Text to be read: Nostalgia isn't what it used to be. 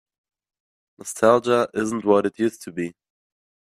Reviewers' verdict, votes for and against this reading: accepted, 2, 0